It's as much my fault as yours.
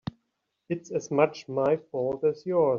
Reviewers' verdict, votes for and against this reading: rejected, 2, 4